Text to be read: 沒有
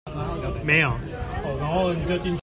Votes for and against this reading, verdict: 1, 2, rejected